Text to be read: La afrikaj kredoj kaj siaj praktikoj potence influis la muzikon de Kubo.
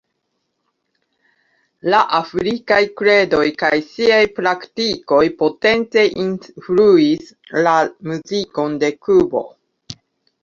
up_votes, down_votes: 2, 1